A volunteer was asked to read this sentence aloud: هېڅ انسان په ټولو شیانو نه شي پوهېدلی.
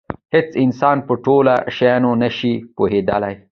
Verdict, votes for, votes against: accepted, 2, 0